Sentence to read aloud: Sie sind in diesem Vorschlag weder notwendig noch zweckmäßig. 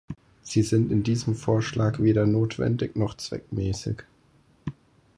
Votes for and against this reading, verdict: 4, 0, accepted